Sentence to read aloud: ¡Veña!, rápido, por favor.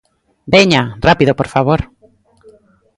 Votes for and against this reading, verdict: 1, 2, rejected